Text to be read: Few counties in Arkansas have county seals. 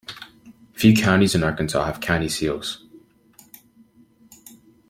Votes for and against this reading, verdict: 2, 0, accepted